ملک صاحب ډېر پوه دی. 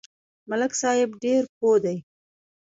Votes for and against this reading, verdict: 1, 2, rejected